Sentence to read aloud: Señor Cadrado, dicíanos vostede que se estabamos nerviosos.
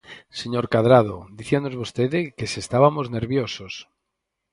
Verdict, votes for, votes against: rejected, 0, 4